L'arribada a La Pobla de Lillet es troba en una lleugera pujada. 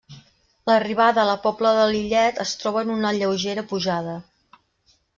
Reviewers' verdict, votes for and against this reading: accepted, 3, 0